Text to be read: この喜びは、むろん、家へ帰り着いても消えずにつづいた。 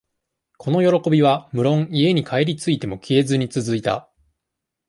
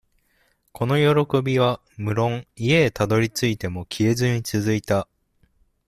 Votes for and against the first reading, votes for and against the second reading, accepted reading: 2, 0, 0, 2, first